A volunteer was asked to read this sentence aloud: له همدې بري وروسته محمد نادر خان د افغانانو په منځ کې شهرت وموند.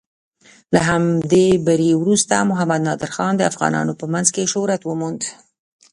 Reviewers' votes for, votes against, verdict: 0, 2, rejected